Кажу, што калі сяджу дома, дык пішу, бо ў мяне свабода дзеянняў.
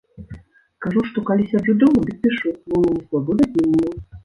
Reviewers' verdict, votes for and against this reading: rejected, 0, 2